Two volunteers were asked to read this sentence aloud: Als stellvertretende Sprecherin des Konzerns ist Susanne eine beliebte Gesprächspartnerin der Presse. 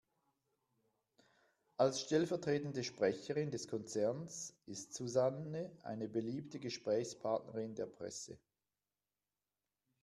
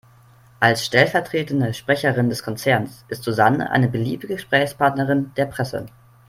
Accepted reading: second